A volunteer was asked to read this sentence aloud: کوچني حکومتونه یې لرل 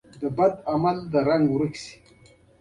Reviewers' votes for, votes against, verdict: 2, 1, accepted